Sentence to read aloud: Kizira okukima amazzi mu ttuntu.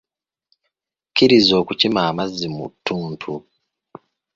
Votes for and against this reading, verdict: 1, 2, rejected